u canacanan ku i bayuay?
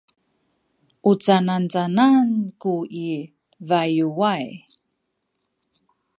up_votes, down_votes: 2, 0